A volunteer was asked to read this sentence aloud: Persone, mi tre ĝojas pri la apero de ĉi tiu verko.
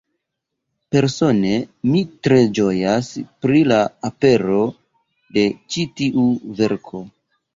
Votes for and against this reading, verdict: 2, 0, accepted